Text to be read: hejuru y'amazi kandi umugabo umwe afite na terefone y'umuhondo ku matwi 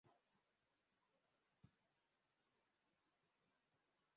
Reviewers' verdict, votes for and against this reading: rejected, 1, 2